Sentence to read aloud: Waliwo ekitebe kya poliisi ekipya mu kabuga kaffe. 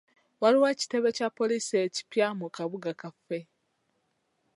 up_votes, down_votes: 2, 1